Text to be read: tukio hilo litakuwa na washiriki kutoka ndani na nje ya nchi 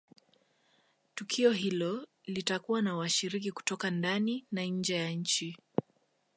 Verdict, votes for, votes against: accepted, 2, 0